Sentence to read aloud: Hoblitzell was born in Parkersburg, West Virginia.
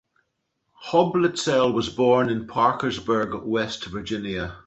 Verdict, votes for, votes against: accepted, 2, 0